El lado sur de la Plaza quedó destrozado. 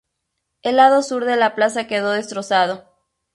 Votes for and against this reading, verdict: 2, 0, accepted